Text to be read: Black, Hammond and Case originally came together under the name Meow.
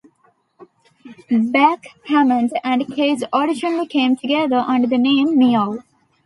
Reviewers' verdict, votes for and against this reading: rejected, 0, 2